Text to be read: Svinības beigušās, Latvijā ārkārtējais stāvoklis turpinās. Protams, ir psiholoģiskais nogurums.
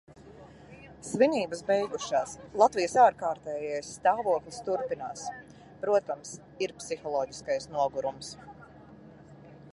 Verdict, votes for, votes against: rejected, 0, 2